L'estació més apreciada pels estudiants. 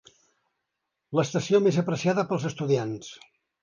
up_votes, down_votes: 3, 0